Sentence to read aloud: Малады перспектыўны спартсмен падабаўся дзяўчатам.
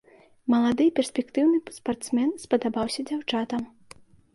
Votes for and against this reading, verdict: 0, 2, rejected